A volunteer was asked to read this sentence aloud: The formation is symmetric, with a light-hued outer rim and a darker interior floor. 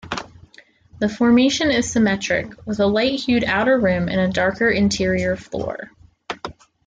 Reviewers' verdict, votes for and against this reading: accepted, 2, 1